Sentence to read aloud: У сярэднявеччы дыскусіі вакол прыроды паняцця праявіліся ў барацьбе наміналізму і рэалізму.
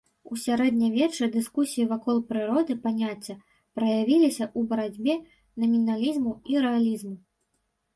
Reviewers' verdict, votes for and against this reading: accepted, 2, 0